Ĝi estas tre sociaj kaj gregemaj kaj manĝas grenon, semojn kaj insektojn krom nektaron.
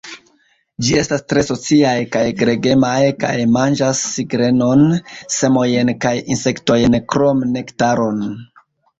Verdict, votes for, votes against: rejected, 1, 2